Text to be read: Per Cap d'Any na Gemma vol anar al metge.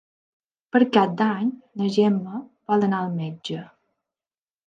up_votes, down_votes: 3, 0